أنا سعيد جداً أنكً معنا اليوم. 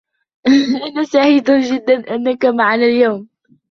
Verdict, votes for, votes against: rejected, 0, 2